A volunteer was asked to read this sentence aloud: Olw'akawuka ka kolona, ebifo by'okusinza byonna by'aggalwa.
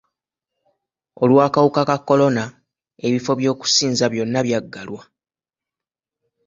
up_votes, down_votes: 2, 0